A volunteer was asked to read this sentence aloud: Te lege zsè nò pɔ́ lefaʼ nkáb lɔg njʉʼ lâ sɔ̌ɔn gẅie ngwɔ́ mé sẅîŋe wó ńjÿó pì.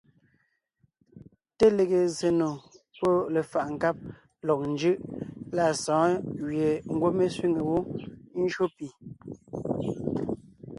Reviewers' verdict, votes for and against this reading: accepted, 2, 0